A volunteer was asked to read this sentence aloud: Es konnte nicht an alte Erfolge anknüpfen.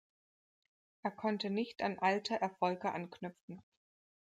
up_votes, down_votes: 1, 2